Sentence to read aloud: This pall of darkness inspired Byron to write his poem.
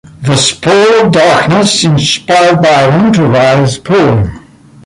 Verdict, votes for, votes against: accepted, 2, 0